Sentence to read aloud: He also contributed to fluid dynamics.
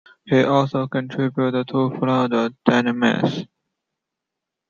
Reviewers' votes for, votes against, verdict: 1, 2, rejected